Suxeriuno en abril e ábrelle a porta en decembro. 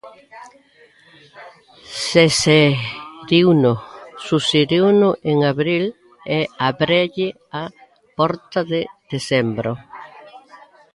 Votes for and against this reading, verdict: 0, 2, rejected